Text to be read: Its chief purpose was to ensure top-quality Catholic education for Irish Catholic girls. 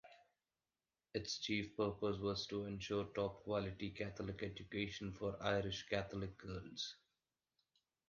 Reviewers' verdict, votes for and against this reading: accepted, 2, 1